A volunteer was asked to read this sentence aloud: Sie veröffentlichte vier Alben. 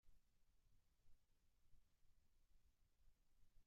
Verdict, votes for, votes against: rejected, 0, 2